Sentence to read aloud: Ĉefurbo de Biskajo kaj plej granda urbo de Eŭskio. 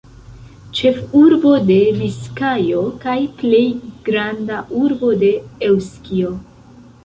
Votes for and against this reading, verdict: 2, 1, accepted